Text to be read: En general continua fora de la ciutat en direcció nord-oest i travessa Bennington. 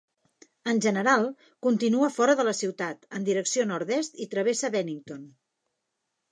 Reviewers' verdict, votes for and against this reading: rejected, 0, 2